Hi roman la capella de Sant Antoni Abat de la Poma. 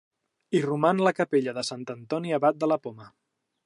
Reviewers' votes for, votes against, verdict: 2, 0, accepted